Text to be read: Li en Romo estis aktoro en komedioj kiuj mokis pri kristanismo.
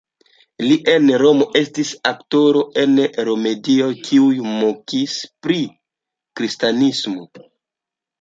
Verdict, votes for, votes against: rejected, 1, 2